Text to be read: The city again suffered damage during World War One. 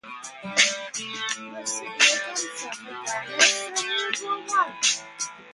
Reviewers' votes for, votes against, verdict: 0, 2, rejected